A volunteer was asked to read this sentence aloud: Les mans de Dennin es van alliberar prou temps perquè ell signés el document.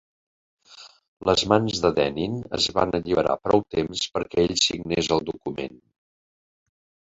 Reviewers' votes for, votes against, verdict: 2, 1, accepted